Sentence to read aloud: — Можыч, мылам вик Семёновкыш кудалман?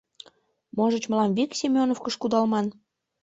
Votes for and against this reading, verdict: 2, 0, accepted